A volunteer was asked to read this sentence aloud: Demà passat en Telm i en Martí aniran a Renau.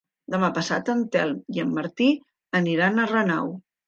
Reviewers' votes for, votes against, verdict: 3, 0, accepted